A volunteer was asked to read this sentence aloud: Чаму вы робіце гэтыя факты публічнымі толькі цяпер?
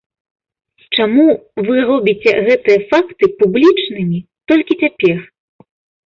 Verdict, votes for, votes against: accepted, 2, 0